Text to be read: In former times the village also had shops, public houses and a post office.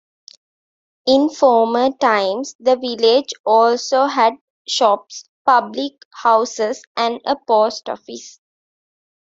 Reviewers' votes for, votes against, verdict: 2, 0, accepted